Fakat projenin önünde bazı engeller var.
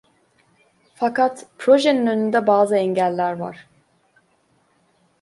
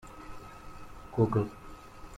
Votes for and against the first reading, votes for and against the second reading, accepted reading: 2, 0, 1, 2, first